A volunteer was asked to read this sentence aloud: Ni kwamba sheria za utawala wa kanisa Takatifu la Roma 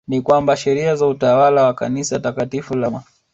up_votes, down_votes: 1, 2